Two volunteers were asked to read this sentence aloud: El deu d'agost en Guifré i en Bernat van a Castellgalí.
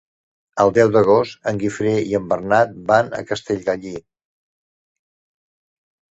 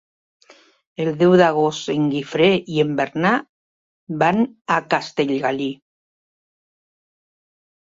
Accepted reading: first